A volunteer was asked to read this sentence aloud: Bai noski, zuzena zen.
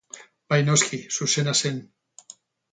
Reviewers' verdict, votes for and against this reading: rejected, 2, 2